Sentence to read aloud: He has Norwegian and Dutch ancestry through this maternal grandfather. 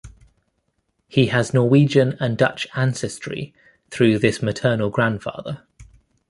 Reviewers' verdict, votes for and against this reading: accepted, 2, 0